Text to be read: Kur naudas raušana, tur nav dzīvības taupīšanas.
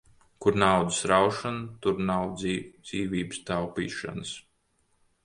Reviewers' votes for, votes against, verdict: 0, 2, rejected